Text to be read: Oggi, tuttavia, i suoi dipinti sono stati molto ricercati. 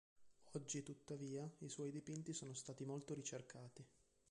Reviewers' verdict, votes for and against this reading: accepted, 2, 0